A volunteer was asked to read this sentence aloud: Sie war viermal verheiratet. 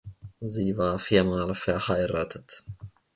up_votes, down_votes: 2, 1